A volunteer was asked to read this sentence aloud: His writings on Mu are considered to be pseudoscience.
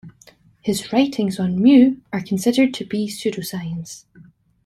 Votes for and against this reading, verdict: 2, 0, accepted